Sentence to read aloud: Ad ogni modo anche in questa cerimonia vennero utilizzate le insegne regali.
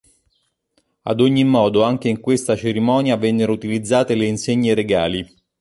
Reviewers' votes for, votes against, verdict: 2, 0, accepted